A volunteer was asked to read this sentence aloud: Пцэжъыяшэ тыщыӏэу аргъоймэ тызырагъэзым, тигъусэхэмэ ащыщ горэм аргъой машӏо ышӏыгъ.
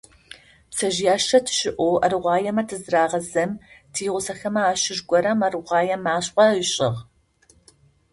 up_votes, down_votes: 2, 0